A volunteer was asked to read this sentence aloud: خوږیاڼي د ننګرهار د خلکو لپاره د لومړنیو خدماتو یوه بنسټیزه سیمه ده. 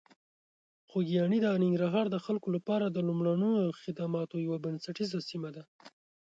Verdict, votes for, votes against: accepted, 2, 0